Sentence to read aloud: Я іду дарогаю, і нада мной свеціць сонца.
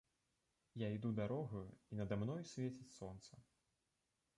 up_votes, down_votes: 0, 2